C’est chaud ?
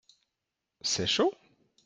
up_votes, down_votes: 3, 0